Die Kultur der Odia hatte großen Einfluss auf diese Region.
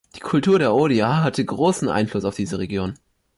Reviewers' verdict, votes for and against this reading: accepted, 2, 0